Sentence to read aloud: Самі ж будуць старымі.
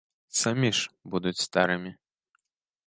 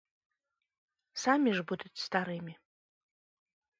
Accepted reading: second